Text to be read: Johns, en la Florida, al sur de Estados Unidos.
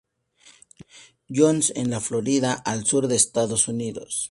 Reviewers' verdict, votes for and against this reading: accepted, 2, 0